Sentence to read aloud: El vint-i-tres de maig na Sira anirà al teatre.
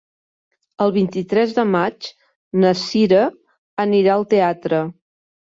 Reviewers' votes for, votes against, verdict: 2, 0, accepted